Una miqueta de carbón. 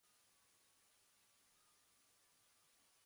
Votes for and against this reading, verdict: 1, 2, rejected